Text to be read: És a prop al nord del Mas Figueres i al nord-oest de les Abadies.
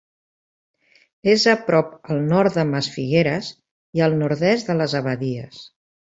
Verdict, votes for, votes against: rejected, 1, 2